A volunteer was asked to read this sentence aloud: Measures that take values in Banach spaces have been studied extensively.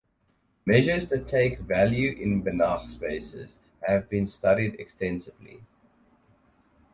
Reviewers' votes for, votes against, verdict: 2, 4, rejected